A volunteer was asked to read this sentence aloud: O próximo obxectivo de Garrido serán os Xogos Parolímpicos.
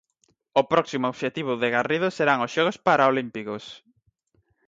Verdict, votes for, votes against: rejected, 0, 4